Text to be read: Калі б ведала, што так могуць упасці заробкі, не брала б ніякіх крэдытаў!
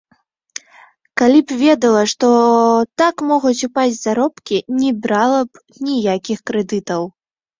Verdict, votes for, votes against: rejected, 1, 2